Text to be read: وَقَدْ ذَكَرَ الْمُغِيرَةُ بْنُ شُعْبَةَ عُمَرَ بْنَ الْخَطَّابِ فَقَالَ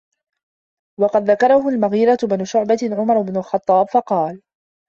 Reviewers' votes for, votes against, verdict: 0, 2, rejected